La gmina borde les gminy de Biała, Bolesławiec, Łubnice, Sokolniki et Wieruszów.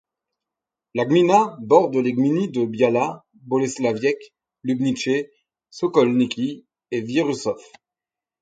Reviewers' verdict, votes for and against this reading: accepted, 4, 0